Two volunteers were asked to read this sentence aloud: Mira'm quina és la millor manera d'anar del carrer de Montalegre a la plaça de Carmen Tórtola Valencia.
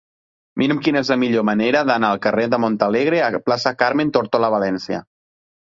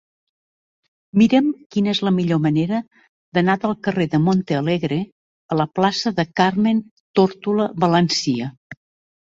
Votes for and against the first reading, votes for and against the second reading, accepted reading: 1, 2, 2, 0, second